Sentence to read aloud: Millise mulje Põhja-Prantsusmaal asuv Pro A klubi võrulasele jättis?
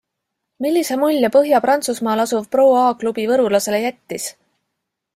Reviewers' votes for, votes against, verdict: 2, 0, accepted